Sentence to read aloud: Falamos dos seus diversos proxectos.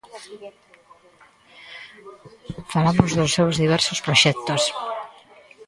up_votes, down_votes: 1, 2